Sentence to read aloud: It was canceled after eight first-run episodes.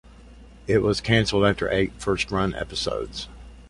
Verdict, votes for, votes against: accepted, 2, 0